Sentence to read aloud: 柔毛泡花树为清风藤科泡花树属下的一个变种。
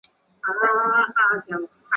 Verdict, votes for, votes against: rejected, 1, 4